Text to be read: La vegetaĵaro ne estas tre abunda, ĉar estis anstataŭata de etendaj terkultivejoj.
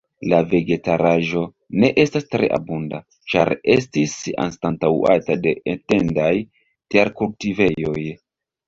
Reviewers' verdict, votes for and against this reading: rejected, 1, 2